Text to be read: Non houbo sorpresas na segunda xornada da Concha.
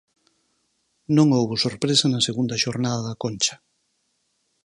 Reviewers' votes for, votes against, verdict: 0, 4, rejected